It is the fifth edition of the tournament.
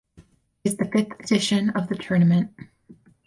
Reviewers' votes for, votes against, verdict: 2, 4, rejected